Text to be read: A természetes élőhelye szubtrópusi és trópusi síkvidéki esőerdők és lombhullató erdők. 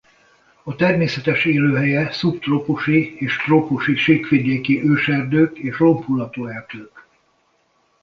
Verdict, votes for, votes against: rejected, 1, 2